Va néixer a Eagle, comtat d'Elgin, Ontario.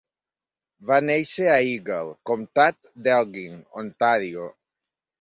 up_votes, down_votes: 2, 0